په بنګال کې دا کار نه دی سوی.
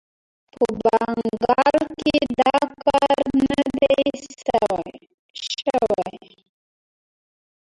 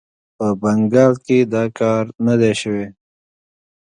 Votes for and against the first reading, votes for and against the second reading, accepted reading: 0, 2, 2, 0, second